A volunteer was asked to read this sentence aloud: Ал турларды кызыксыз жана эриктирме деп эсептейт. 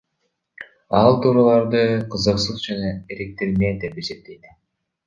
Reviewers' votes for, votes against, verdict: 1, 2, rejected